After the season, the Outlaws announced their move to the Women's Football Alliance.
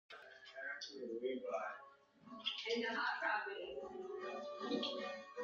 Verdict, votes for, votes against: rejected, 0, 2